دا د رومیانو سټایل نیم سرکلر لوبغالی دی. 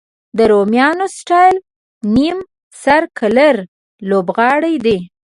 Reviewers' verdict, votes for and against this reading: rejected, 0, 2